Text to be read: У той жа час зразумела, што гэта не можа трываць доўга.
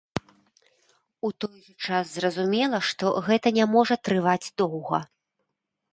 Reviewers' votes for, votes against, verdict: 1, 2, rejected